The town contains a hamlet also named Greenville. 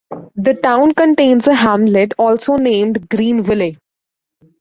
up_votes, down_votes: 1, 2